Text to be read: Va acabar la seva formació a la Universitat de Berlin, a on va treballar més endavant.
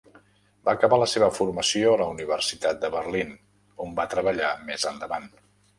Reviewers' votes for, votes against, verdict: 0, 2, rejected